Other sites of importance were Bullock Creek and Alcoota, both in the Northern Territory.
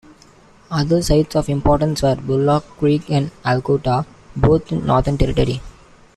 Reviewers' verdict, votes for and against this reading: accepted, 2, 1